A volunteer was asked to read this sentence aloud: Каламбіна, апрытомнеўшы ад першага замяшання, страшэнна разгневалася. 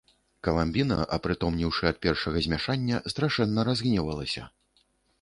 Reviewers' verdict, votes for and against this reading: rejected, 1, 2